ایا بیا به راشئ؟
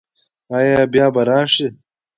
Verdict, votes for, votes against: accepted, 2, 1